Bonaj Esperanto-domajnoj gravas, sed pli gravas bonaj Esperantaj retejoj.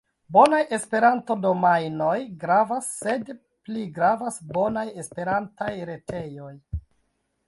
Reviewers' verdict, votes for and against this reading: accepted, 2, 0